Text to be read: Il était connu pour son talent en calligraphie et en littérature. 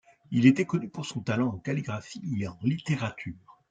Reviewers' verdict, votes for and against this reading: accepted, 2, 0